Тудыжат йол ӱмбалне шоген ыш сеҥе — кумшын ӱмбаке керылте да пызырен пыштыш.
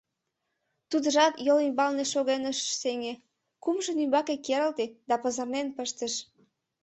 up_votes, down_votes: 0, 2